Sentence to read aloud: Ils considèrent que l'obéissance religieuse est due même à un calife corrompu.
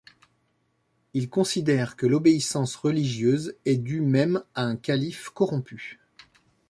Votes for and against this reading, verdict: 2, 1, accepted